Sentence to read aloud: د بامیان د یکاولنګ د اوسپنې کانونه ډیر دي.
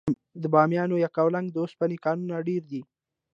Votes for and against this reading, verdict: 2, 0, accepted